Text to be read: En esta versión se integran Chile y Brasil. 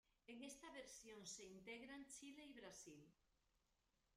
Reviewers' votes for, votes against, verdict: 1, 2, rejected